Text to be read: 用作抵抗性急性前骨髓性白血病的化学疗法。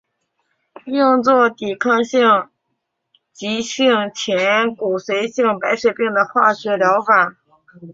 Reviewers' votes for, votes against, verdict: 2, 0, accepted